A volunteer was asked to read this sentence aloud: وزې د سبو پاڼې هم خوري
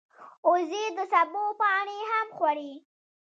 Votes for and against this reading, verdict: 1, 2, rejected